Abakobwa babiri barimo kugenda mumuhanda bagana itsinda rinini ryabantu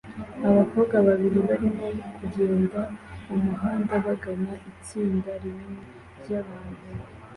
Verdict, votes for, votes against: accepted, 2, 0